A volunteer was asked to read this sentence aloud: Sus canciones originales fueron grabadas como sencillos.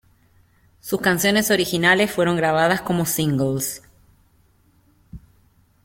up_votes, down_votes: 0, 2